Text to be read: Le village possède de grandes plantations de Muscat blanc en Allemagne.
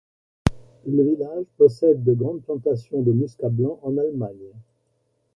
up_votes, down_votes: 2, 0